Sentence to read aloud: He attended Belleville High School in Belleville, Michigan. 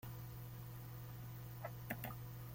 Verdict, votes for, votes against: rejected, 0, 2